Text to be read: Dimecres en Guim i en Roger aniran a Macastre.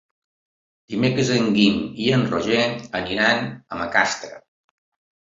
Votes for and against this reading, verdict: 5, 0, accepted